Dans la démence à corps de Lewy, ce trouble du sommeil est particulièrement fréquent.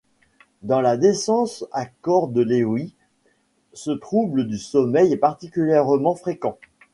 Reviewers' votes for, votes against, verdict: 1, 2, rejected